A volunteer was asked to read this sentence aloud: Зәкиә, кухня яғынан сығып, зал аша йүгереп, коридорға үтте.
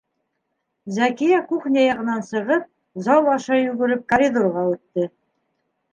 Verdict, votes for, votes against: accepted, 2, 0